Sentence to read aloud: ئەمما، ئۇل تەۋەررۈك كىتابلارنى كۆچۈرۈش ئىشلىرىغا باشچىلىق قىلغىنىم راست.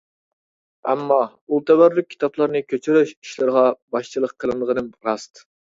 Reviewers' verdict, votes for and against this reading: rejected, 0, 2